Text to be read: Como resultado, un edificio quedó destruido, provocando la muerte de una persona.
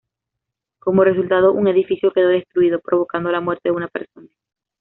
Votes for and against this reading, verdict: 2, 0, accepted